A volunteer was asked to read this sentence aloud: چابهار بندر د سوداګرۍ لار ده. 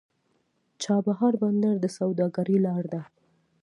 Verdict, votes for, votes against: accepted, 2, 0